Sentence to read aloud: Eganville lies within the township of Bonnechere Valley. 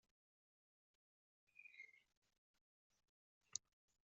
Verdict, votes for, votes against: rejected, 1, 2